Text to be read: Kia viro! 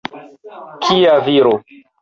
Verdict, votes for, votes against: accepted, 4, 2